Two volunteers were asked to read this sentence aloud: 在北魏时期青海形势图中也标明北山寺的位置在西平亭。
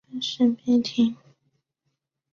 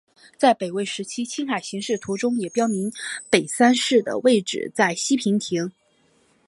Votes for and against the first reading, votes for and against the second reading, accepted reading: 0, 3, 9, 1, second